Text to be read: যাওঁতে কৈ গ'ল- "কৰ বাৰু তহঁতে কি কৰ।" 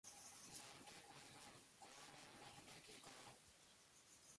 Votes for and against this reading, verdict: 0, 2, rejected